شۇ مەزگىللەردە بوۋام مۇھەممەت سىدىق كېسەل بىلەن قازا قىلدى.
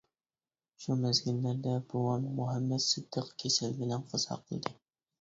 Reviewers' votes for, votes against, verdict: 2, 0, accepted